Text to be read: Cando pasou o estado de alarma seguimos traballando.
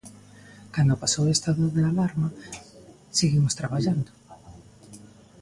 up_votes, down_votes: 2, 0